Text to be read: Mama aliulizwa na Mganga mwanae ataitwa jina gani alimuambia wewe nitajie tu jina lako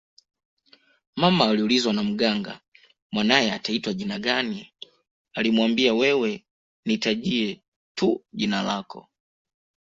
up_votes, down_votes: 0, 2